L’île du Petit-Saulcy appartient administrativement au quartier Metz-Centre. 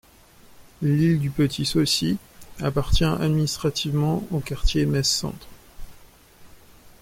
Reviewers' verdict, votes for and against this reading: accepted, 2, 0